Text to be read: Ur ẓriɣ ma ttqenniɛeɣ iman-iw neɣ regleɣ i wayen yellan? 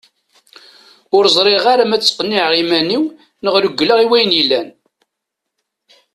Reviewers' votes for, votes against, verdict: 1, 2, rejected